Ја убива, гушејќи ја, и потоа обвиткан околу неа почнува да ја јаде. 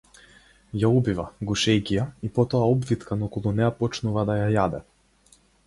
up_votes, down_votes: 4, 0